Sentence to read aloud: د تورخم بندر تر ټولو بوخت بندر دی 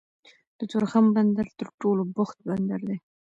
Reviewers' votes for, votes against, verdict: 1, 2, rejected